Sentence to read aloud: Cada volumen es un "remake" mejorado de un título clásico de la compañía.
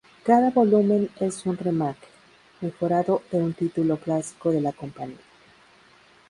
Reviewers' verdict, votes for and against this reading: accepted, 2, 0